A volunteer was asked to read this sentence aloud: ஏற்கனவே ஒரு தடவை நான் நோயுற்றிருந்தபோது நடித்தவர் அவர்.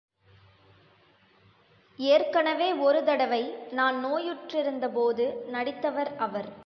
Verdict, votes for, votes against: rejected, 1, 2